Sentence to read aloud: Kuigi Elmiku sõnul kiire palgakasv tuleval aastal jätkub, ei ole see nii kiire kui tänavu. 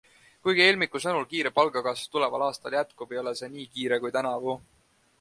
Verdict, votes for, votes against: accepted, 2, 0